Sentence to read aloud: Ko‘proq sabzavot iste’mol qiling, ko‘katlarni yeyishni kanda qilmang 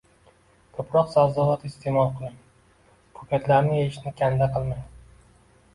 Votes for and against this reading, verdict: 2, 0, accepted